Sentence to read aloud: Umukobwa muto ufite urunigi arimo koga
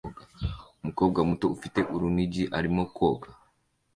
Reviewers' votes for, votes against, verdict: 2, 0, accepted